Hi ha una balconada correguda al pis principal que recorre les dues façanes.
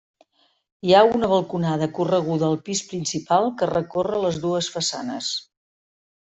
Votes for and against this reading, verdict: 3, 0, accepted